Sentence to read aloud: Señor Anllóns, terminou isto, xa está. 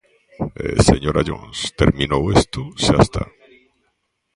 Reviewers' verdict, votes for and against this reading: rejected, 0, 2